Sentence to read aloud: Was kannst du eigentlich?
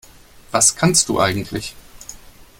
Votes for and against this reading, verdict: 3, 0, accepted